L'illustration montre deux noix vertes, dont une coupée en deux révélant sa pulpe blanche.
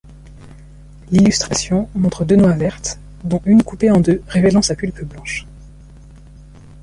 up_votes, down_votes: 0, 2